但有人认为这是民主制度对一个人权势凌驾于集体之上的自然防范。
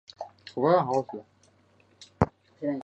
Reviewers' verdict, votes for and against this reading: rejected, 0, 5